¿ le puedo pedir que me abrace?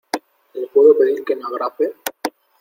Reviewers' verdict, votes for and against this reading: accepted, 2, 0